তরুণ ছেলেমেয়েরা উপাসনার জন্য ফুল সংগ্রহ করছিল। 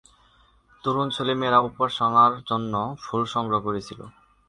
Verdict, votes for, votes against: accepted, 2, 1